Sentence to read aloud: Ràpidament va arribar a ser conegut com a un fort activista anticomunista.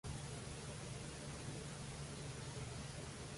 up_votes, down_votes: 0, 2